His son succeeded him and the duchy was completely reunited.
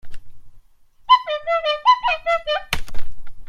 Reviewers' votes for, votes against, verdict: 0, 2, rejected